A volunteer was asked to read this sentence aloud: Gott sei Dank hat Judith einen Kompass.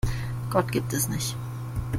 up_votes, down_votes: 0, 2